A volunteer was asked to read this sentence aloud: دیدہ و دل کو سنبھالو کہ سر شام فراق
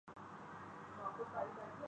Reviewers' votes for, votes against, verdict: 0, 6, rejected